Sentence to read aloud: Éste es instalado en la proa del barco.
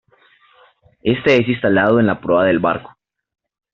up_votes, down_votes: 2, 0